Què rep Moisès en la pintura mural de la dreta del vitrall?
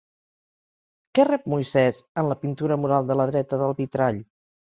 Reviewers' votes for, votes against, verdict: 3, 0, accepted